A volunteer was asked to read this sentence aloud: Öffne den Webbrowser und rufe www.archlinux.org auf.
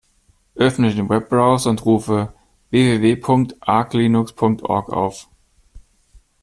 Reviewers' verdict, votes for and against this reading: rejected, 0, 2